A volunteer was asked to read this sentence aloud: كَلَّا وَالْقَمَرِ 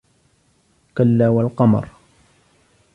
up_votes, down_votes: 3, 0